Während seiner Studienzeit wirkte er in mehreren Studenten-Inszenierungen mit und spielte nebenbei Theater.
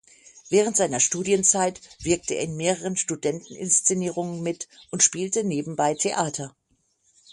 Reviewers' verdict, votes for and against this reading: accepted, 6, 0